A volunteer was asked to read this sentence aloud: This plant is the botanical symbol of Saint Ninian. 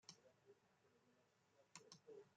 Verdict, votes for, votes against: rejected, 0, 2